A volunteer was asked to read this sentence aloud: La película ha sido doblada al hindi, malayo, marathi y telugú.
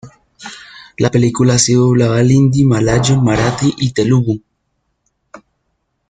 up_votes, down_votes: 2, 1